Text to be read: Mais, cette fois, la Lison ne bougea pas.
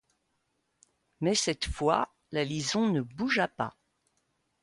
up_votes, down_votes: 2, 0